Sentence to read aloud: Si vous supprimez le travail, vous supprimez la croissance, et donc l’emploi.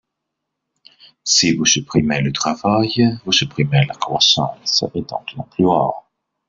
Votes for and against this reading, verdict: 2, 0, accepted